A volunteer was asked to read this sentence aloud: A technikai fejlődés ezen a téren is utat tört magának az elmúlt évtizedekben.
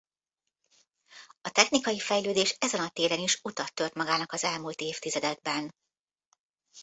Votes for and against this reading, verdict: 2, 1, accepted